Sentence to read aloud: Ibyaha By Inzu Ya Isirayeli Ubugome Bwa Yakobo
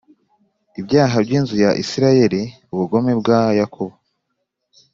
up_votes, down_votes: 2, 0